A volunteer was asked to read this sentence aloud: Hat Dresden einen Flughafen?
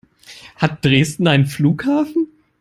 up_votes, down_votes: 2, 0